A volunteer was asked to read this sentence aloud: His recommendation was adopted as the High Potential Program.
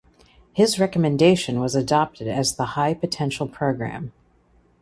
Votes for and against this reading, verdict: 2, 0, accepted